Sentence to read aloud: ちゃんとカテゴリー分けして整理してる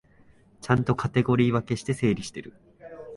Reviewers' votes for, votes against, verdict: 4, 0, accepted